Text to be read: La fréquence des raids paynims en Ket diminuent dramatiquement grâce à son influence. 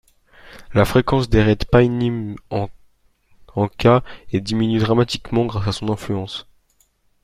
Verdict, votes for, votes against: rejected, 1, 2